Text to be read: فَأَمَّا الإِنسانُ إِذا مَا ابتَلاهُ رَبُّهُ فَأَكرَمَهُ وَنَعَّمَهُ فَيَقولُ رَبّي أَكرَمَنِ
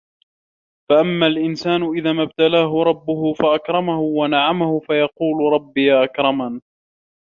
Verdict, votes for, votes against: accepted, 2, 1